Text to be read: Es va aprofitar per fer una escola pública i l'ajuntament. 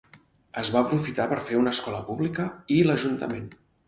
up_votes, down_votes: 4, 0